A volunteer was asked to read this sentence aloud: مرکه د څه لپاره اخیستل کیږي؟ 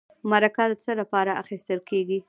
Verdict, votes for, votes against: rejected, 0, 2